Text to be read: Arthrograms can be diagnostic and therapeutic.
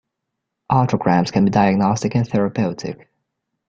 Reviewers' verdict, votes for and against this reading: rejected, 1, 2